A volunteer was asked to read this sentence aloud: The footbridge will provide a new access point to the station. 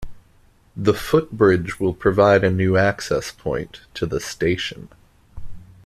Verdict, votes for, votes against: accepted, 2, 0